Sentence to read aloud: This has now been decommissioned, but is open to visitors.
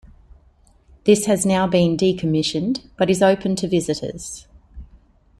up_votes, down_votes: 2, 0